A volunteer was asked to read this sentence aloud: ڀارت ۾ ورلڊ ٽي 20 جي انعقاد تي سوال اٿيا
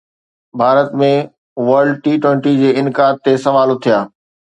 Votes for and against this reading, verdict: 0, 2, rejected